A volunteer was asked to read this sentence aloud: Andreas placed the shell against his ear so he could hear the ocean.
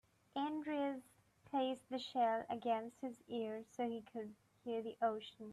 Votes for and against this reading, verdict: 1, 2, rejected